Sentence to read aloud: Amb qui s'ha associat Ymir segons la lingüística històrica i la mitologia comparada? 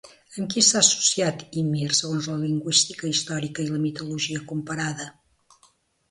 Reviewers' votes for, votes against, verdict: 2, 0, accepted